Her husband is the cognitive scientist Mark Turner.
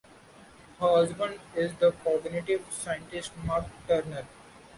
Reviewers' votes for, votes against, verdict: 2, 1, accepted